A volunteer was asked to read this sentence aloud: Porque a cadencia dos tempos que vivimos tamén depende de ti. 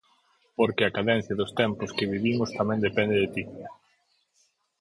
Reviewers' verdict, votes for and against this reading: accepted, 54, 0